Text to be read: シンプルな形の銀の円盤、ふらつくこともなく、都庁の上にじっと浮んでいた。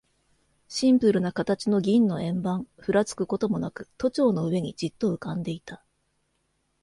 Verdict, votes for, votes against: accepted, 2, 0